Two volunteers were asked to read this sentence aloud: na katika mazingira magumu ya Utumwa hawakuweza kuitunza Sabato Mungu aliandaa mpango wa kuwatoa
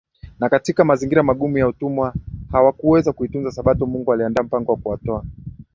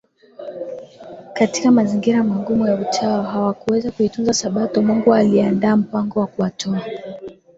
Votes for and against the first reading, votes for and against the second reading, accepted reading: 2, 0, 1, 2, first